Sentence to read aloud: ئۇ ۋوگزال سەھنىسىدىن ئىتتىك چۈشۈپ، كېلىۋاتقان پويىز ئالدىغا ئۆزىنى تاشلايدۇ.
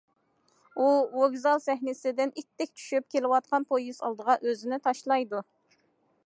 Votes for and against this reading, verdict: 2, 0, accepted